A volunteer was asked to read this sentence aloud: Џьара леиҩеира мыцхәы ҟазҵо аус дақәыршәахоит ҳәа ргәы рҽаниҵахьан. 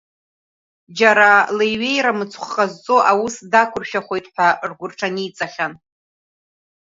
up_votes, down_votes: 0, 2